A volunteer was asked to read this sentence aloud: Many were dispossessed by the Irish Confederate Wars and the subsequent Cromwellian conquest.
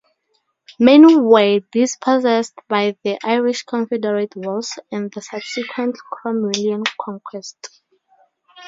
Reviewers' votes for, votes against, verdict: 2, 0, accepted